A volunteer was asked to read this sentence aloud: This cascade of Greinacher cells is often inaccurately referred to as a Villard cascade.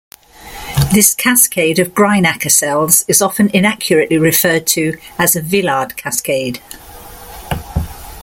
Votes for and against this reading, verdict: 2, 0, accepted